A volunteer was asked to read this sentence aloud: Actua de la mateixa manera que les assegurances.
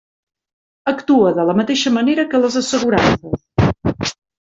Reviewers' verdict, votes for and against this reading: rejected, 1, 2